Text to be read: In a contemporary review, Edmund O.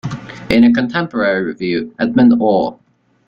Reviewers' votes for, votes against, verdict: 2, 1, accepted